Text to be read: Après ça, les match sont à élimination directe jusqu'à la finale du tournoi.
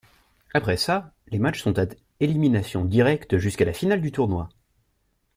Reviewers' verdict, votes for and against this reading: rejected, 1, 2